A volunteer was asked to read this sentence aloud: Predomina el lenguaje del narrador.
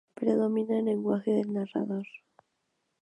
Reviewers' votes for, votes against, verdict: 0, 2, rejected